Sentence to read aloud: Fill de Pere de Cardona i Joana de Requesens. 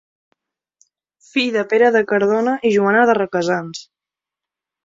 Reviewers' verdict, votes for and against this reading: accepted, 2, 1